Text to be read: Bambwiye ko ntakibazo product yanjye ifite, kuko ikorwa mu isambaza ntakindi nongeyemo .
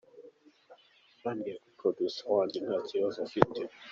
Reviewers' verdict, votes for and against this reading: rejected, 0, 2